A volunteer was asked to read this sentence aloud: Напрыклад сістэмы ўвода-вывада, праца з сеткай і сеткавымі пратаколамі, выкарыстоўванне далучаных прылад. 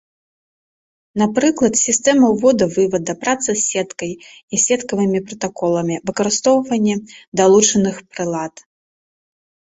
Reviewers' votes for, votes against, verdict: 2, 0, accepted